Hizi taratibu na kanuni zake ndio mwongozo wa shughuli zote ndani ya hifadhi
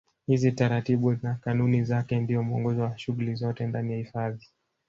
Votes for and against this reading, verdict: 1, 2, rejected